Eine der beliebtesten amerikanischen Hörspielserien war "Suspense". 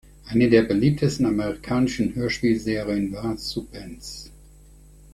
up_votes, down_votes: 0, 2